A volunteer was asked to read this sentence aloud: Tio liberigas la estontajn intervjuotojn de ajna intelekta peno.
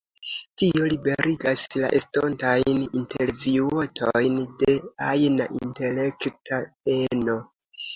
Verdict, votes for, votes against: accepted, 2, 0